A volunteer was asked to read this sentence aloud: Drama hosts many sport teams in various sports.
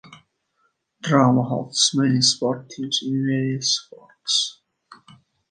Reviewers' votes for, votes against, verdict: 1, 2, rejected